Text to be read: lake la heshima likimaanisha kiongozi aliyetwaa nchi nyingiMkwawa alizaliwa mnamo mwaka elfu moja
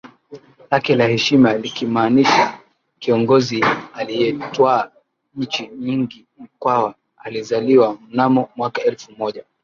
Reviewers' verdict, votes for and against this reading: accepted, 2, 1